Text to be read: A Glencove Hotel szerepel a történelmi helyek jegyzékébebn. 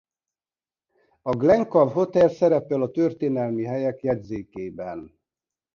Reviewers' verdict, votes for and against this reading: accepted, 2, 0